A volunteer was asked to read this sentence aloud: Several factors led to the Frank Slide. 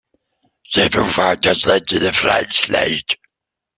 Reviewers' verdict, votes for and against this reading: accepted, 2, 0